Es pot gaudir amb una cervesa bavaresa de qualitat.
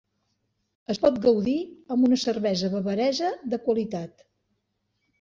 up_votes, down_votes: 2, 0